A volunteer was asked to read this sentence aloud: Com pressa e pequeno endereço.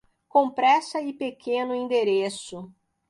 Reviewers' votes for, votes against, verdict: 2, 0, accepted